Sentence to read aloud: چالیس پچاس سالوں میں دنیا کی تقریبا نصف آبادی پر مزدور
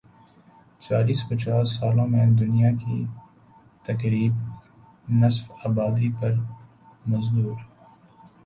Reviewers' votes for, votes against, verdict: 1, 7, rejected